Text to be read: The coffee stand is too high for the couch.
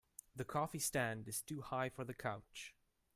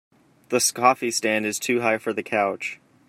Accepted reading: first